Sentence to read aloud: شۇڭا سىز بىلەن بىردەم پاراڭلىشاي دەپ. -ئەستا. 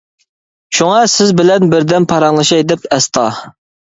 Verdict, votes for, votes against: accepted, 3, 0